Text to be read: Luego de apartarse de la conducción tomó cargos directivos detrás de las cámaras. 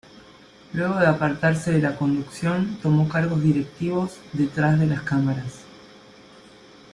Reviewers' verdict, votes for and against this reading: accepted, 2, 0